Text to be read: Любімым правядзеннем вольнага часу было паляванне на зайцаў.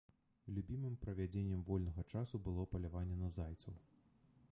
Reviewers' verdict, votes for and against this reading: rejected, 1, 2